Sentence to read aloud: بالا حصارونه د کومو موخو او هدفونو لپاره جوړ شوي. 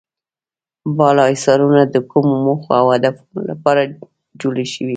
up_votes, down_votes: 1, 2